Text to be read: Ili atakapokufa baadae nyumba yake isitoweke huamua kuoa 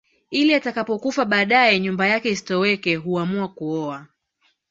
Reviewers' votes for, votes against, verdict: 3, 0, accepted